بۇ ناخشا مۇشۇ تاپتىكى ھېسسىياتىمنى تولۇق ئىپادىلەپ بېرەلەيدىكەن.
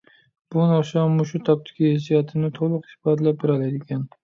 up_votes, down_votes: 2, 0